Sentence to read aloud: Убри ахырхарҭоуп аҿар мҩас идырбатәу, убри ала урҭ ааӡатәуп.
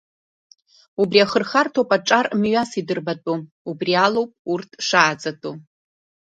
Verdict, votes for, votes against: rejected, 0, 2